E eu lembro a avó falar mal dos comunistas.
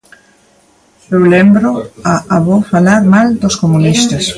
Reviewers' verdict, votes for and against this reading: rejected, 0, 2